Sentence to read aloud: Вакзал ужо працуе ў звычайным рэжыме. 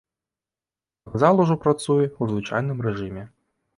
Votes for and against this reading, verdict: 0, 2, rejected